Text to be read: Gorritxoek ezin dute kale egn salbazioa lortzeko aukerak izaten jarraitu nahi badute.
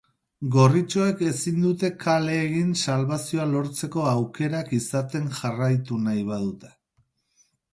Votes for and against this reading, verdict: 4, 0, accepted